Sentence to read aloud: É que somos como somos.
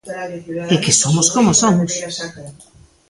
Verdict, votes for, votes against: rejected, 1, 3